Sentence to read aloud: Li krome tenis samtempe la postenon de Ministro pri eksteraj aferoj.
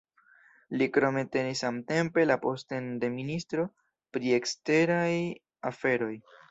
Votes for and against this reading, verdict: 2, 0, accepted